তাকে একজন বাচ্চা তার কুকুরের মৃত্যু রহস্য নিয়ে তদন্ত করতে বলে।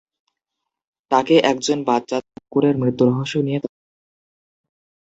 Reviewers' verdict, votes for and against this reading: rejected, 1, 3